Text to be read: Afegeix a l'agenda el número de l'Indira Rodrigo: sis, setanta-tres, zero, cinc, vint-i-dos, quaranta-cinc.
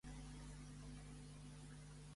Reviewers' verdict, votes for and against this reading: rejected, 0, 2